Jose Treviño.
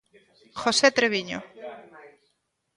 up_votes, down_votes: 1, 2